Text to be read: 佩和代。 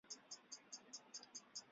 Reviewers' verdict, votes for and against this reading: rejected, 1, 2